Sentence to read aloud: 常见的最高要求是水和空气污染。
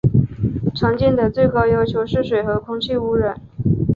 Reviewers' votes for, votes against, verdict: 2, 0, accepted